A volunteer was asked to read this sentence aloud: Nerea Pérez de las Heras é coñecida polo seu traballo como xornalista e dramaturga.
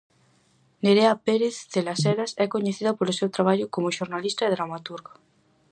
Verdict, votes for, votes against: accepted, 4, 0